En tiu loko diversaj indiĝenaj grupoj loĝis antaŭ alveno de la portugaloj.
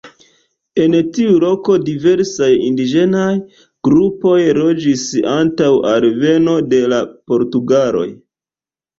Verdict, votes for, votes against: rejected, 1, 2